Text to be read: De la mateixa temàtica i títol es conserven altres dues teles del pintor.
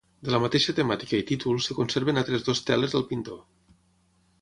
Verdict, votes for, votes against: rejected, 0, 6